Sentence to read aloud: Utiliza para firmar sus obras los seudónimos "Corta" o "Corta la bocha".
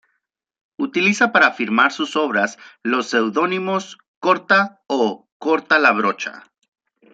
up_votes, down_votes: 1, 2